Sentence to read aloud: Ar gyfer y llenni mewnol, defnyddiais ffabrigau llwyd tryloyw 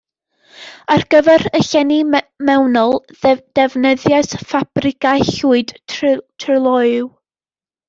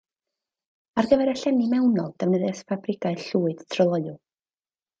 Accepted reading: second